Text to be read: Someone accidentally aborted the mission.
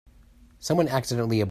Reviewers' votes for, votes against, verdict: 0, 2, rejected